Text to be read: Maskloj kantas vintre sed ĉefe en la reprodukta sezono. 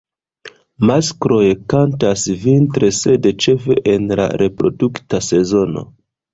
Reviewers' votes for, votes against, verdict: 0, 3, rejected